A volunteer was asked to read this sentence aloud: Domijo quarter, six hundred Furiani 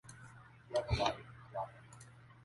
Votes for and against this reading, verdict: 0, 2, rejected